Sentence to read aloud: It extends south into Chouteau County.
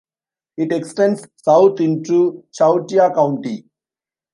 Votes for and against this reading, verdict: 1, 2, rejected